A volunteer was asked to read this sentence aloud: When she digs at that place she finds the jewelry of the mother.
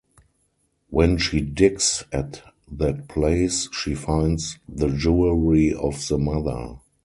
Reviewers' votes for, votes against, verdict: 2, 4, rejected